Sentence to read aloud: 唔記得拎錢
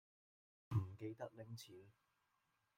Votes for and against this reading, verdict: 1, 2, rejected